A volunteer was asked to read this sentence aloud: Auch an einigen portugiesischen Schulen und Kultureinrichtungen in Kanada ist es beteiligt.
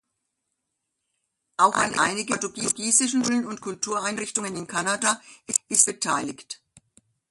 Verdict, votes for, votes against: rejected, 0, 2